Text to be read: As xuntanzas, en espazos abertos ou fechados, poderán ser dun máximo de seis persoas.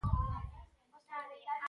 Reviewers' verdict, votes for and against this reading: rejected, 0, 2